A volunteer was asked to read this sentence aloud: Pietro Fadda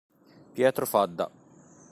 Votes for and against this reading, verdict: 2, 0, accepted